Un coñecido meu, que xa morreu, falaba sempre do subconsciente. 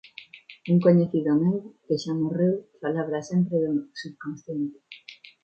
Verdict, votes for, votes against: rejected, 1, 2